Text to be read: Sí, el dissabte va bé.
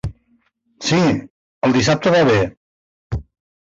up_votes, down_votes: 1, 2